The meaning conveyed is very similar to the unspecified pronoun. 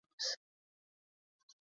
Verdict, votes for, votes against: rejected, 0, 2